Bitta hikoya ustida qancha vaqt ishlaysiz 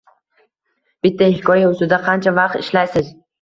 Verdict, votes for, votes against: accepted, 2, 0